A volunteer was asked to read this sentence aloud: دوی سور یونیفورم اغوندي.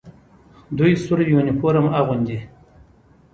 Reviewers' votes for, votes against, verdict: 1, 2, rejected